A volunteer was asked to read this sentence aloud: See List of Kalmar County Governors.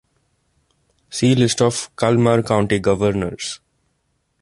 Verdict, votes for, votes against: accepted, 2, 0